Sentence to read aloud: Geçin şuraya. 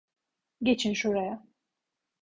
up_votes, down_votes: 2, 0